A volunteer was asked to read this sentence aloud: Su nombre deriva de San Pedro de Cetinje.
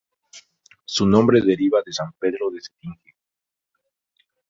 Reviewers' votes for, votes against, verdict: 0, 2, rejected